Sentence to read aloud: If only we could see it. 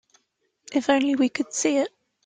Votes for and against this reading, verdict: 2, 0, accepted